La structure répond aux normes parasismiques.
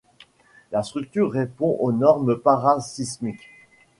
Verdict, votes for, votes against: accepted, 2, 0